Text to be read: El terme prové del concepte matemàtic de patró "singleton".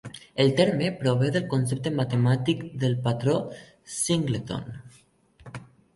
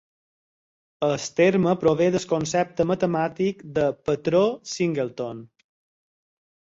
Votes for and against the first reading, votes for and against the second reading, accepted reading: 0, 2, 4, 0, second